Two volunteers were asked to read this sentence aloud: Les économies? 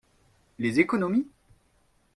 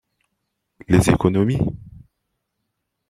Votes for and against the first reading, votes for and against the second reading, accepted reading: 2, 0, 1, 2, first